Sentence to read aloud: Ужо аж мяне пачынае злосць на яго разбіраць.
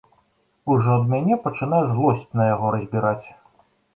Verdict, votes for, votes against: rejected, 1, 2